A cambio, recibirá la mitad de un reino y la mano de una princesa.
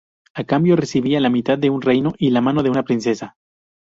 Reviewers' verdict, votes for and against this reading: rejected, 0, 2